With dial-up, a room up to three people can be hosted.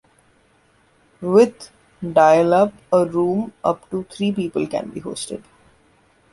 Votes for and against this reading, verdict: 2, 0, accepted